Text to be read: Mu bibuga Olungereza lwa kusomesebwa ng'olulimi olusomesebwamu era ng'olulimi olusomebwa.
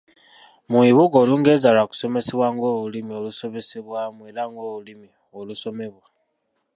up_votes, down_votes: 1, 2